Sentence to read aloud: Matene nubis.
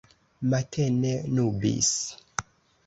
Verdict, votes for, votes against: accepted, 2, 0